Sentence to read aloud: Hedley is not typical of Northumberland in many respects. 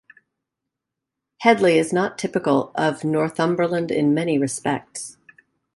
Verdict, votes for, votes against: accepted, 3, 0